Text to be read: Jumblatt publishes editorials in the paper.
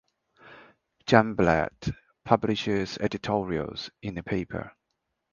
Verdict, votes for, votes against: accepted, 3, 0